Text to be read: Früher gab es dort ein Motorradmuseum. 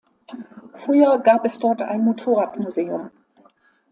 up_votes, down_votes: 2, 0